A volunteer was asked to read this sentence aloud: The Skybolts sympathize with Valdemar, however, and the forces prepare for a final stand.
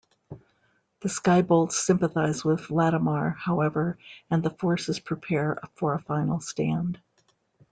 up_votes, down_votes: 1, 2